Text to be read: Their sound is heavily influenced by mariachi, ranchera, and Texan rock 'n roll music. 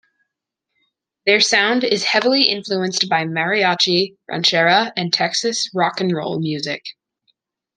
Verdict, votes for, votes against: rejected, 0, 2